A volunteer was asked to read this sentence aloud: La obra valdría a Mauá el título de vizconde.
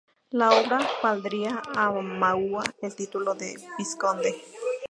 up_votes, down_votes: 2, 0